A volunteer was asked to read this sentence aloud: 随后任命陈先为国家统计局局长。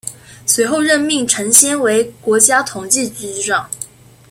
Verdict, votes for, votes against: accepted, 2, 0